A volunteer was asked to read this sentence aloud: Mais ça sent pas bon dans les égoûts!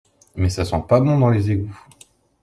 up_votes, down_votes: 2, 0